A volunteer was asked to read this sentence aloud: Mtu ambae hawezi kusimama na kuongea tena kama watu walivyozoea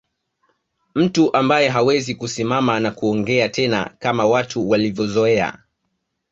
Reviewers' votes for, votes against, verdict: 2, 0, accepted